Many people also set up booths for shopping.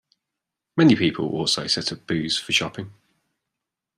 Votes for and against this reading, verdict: 1, 2, rejected